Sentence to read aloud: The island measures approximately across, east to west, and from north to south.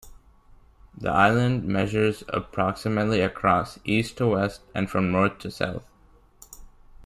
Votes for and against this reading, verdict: 2, 0, accepted